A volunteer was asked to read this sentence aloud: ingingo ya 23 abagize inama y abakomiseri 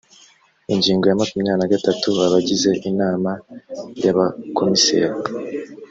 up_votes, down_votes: 0, 2